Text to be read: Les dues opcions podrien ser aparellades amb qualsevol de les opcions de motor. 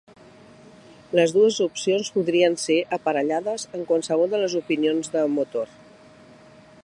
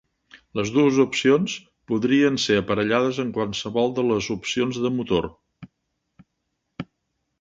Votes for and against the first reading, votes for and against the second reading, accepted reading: 0, 2, 2, 0, second